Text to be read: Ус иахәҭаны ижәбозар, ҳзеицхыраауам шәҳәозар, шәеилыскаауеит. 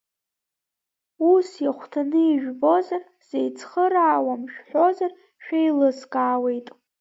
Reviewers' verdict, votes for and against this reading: rejected, 0, 2